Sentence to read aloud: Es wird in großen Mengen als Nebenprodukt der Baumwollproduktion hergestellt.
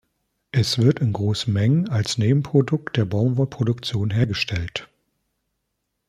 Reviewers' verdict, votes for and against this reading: accepted, 2, 0